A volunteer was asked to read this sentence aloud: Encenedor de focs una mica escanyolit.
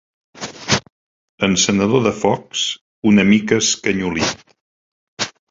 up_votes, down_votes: 2, 1